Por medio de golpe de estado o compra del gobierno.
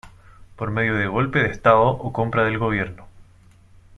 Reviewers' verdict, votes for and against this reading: accepted, 2, 1